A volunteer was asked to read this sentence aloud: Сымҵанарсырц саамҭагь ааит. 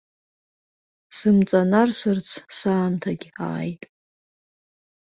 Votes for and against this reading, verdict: 2, 0, accepted